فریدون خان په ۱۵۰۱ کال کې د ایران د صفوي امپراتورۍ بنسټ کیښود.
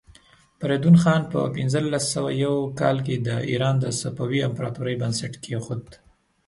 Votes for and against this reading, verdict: 0, 2, rejected